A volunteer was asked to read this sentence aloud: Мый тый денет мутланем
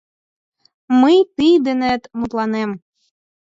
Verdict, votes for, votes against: accepted, 4, 2